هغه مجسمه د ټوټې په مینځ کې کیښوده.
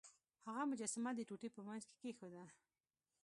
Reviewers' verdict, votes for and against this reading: rejected, 1, 2